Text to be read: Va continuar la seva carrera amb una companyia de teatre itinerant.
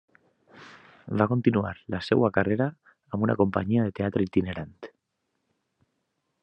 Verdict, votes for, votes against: rejected, 1, 2